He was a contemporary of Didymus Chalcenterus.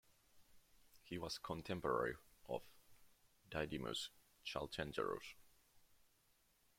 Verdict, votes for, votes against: rejected, 1, 2